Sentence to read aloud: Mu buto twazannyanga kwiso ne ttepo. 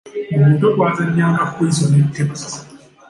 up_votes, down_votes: 2, 0